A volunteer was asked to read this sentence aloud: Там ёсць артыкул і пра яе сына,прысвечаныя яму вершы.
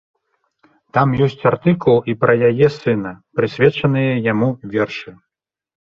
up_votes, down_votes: 2, 0